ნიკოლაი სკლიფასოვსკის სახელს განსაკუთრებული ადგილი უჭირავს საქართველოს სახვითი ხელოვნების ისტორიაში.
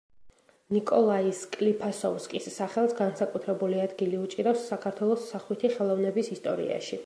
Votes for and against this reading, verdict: 2, 0, accepted